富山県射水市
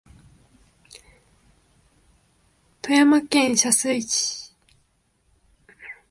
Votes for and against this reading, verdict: 3, 1, accepted